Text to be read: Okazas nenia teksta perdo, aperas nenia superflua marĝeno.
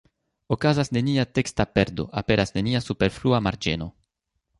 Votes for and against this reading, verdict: 3, 0, accepted